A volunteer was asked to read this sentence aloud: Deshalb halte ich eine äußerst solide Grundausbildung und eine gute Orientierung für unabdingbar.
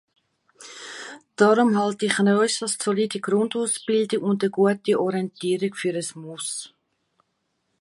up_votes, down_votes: 0, 2